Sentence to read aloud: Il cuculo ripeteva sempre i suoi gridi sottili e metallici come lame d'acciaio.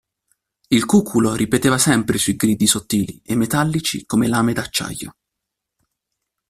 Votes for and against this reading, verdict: 2, 1, accepted